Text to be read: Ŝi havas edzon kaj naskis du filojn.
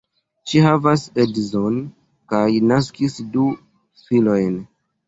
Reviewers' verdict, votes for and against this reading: accepted, 2, 0